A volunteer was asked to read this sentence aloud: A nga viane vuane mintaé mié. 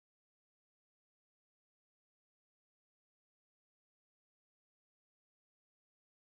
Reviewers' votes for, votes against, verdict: 1, 2, rejected